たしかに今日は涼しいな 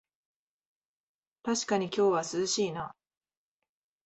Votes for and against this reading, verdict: 2, 0, accepted